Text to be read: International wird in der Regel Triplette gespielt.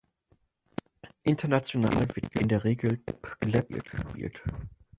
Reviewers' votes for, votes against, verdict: 0, 4, rejected